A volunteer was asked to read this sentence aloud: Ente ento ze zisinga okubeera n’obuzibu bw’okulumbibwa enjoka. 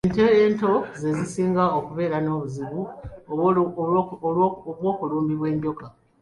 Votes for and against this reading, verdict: 1, 2, rejected